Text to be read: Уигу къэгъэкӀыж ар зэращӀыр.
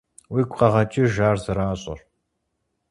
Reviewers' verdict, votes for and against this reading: accepted, 4, 0